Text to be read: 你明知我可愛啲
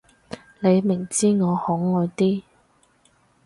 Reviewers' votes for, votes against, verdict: 4, 0, accepted